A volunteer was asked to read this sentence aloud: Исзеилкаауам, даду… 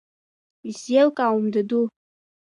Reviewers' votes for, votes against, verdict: 2, 1, accepted